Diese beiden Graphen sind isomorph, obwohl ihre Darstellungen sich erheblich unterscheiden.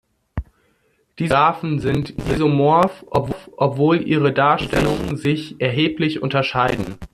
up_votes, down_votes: 0, 2